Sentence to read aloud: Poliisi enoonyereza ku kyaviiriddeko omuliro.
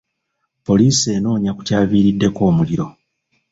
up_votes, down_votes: 0, 2